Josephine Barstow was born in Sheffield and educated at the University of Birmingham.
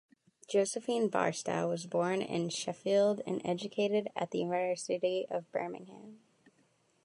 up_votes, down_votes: 0, 2